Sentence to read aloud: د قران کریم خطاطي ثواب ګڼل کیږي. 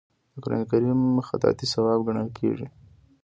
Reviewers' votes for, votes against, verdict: 0, 2, rejected